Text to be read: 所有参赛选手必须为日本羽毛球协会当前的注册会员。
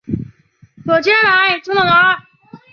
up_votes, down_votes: 0, 3